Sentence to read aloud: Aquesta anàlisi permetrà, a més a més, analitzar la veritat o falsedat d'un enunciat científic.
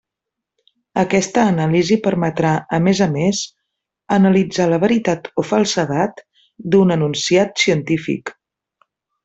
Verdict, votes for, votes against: accepted, 2, 0